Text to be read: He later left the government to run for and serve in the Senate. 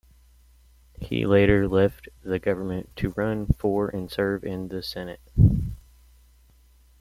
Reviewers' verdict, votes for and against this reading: accepted, 2, 0